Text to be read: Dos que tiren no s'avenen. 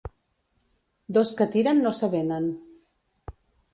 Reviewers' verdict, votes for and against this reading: accepted, 2, 0